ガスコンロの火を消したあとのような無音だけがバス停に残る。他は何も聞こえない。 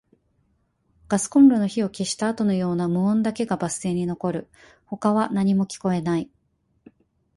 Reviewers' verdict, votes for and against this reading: accepted, 5, 0